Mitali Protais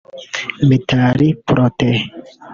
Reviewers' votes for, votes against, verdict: 1, 2, rejected